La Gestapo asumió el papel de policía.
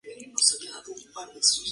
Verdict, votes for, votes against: rejected, 0, 2